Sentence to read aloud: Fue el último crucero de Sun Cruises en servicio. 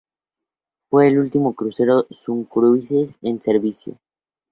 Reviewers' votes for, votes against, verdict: 2, 2, rejected